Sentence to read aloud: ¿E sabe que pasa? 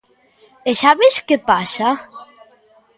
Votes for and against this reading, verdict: 1, 2, rejected